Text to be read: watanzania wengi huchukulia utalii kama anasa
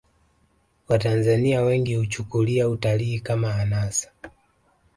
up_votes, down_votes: 2, 0